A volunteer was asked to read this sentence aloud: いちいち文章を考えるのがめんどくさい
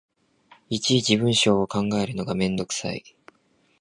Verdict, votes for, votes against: accepted, 2, 0